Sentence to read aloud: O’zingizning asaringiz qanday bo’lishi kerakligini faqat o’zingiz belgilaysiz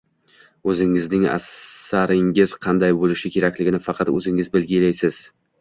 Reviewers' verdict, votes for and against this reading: rejected, 1, 2